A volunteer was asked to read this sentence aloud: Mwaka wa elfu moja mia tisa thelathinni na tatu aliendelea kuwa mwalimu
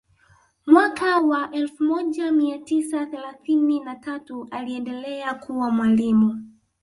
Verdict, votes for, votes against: rejected, 1, 2